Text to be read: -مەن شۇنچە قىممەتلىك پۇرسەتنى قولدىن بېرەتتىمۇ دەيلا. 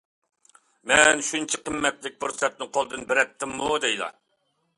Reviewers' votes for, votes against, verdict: 2, 0, accepted